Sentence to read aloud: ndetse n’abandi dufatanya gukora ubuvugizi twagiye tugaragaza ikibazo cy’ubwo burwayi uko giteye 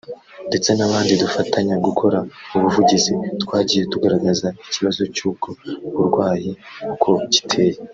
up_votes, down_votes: 0, 2